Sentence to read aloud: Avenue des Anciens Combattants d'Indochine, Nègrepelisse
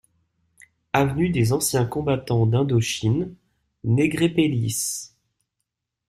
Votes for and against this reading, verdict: 2, 0, accepted